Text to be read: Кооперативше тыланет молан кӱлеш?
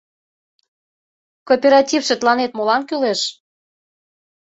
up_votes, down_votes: 2, 0